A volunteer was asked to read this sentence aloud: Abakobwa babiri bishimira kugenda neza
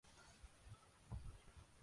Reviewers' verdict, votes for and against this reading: rejected, 0, 2